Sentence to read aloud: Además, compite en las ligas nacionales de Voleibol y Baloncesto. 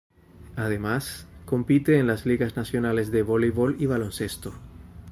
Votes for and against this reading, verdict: 2, 0, accepted